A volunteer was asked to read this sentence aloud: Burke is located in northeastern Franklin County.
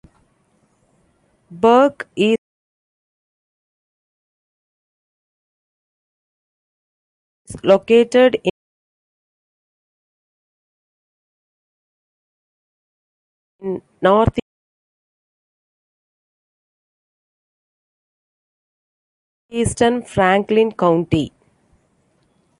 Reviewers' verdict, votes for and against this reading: rejected, 0, 2